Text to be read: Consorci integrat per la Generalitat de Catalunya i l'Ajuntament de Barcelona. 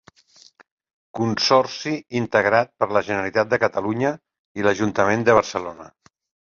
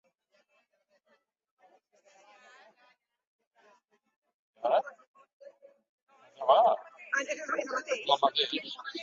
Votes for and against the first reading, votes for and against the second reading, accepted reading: 2, 0, 0, 2, first